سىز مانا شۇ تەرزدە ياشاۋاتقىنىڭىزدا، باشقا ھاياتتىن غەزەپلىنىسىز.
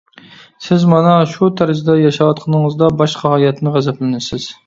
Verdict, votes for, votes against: rejected, 0, 2